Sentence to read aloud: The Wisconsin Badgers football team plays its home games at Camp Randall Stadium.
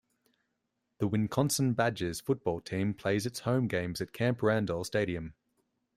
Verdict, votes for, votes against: rejected, 0, 2